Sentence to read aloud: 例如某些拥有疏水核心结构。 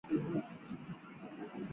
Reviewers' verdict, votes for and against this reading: rejected, 0, 4